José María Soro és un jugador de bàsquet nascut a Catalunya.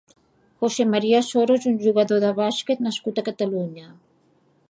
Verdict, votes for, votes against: accepted, 2, 0